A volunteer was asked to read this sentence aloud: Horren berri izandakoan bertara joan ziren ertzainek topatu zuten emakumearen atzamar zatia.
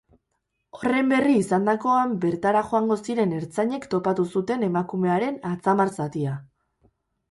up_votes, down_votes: 2, 2